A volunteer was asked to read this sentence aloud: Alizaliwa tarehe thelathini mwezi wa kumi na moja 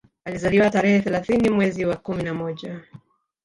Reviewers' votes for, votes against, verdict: 4, 0, accepted